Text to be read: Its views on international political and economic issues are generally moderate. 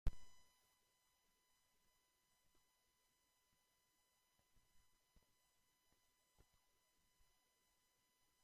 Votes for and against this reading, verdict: 0, 2, rejected